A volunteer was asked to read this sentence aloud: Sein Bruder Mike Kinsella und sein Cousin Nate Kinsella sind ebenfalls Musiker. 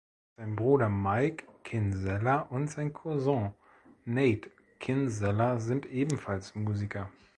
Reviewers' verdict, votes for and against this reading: accepted, 2, 0